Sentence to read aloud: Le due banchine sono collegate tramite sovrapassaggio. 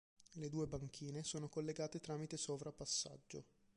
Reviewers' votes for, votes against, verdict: 2, 0, accepted